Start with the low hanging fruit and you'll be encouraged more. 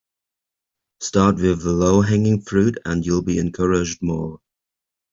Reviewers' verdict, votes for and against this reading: accepted, 2, 0